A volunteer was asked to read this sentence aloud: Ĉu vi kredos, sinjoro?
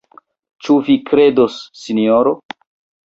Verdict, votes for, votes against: rejected, 1, 2